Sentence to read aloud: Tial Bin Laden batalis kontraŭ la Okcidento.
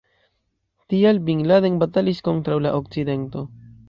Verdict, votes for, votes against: accepted, 2, 0